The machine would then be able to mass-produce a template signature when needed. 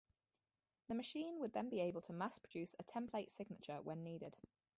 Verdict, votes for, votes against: accepted, 4, 2